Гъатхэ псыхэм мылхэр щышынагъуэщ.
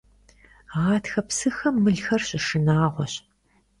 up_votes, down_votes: 2, 0